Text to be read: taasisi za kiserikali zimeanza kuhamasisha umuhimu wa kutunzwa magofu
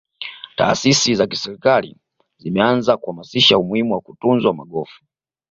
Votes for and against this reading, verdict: 2, 0, accepted